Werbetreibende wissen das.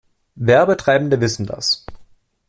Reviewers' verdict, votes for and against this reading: accepted, 2, 0